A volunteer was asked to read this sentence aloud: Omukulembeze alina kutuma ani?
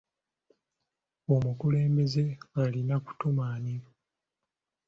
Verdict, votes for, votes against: accepted, 2, 0